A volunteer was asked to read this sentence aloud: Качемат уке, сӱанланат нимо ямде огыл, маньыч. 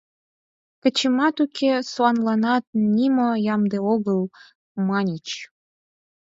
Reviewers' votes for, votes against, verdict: 4, 2, accepted